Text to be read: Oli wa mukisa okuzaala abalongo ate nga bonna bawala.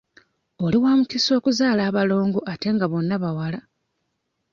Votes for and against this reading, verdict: 2, 0, accepted